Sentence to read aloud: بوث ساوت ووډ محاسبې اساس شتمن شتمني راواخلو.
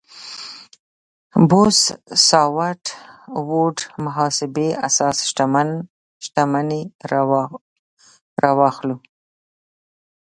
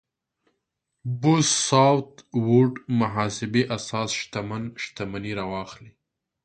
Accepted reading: second